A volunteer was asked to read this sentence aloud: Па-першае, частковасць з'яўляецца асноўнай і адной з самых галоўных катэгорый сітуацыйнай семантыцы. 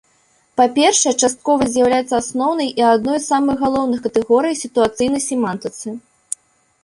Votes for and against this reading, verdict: 2, 0, accepted